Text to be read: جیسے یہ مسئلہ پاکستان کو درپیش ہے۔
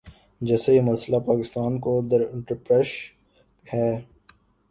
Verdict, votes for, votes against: rejected, 0, 2